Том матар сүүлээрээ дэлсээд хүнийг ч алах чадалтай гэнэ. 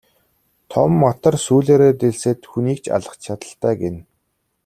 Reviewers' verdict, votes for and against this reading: accepted, 2, 0